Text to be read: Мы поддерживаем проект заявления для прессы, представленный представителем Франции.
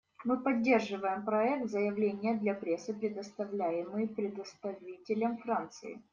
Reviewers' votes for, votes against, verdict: 0, 2, rejected